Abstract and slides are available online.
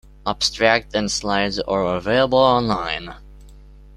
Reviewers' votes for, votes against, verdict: 2, 0, accepted